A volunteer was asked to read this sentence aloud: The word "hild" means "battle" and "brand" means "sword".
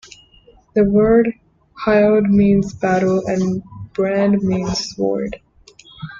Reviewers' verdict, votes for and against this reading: rejected, 0, 2